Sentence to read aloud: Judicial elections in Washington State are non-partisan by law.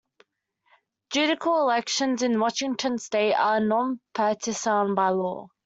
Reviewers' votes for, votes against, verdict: 1, 2, rejected